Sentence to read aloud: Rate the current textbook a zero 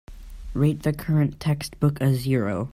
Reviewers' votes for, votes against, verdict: 4, 0, accepted